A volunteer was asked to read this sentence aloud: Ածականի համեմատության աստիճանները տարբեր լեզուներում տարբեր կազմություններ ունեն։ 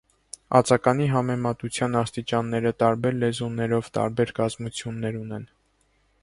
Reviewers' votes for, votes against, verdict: 2, 3, rejected